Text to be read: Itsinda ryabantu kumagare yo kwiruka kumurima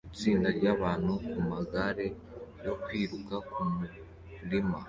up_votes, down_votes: 2, 0